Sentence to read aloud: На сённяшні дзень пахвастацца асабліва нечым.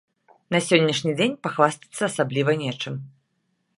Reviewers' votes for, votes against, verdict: 2, 0, accepted